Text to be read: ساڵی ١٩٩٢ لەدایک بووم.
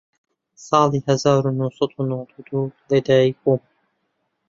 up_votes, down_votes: 0, 2